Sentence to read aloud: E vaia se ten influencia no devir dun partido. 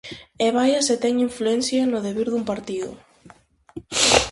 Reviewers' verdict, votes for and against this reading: accepted, 4, 0